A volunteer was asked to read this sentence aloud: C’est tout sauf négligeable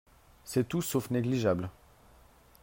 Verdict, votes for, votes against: accepted, 3, 0